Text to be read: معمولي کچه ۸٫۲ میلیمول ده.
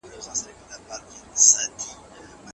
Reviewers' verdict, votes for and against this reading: rejected, 0, 2